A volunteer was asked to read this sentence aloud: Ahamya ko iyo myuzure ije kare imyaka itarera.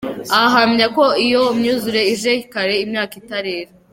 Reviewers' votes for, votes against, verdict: 2, 1, accepted